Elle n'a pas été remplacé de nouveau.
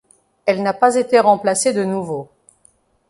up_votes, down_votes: 2, 0